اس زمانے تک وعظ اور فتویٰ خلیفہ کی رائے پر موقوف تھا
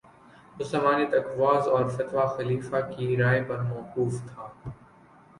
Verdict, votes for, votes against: accepted, 7, 1